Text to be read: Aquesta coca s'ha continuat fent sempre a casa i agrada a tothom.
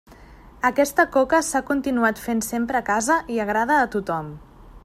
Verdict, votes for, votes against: accepted, 3, 0